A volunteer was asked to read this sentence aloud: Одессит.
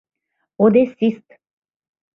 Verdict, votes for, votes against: rejected, 0, 2